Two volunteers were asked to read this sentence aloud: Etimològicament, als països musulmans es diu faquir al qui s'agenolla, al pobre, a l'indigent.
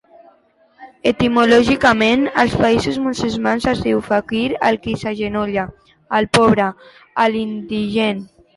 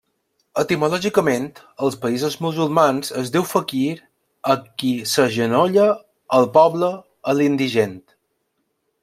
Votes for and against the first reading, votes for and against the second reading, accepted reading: 4, 2, 0, 2, first